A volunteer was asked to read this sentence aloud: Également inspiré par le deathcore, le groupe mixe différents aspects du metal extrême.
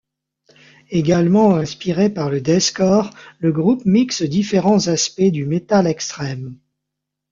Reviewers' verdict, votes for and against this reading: accepted, 2, 0